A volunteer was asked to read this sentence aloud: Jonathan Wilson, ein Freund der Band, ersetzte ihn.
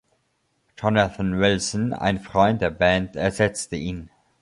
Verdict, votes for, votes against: accepted, 2, 0